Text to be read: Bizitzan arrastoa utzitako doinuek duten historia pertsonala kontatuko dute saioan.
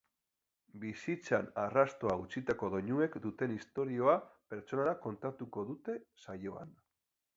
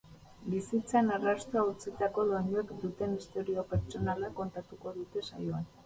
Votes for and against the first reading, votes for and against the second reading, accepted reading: 2, 0, 0, 2, first